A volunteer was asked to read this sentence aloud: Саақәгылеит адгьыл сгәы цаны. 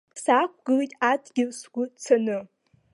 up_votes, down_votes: 0, 2